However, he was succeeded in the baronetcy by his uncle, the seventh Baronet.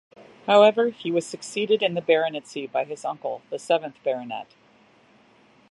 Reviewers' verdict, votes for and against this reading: accepted, 2, 0